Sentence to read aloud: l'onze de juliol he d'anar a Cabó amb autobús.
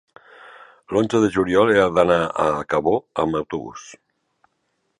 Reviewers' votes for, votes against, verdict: 1, 2, rejected